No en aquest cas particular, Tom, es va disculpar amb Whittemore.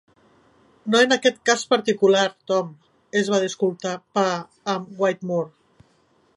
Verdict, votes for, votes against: rejected, 0, 2